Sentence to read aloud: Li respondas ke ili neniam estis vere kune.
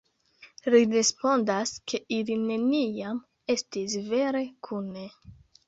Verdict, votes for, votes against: accepted, 2, 0